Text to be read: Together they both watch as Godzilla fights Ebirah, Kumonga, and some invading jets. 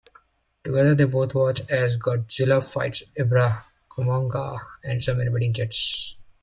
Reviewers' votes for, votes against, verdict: 1, 2, rejected